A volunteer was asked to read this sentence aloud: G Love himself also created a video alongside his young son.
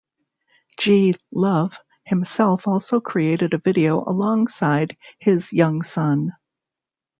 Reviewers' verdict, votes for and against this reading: accepted, 2, 0